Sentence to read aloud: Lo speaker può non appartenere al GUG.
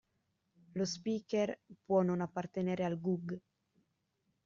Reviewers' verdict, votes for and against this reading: accepted, 2, 0